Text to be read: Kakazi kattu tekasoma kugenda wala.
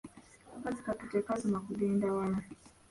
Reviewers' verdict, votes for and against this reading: rejected, 0, 2